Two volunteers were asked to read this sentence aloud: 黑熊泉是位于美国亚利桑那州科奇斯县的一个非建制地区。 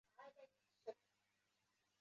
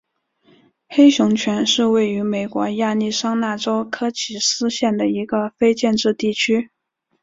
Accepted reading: second